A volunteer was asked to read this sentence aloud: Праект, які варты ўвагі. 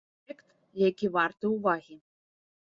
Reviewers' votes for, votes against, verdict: 0, 2, rejected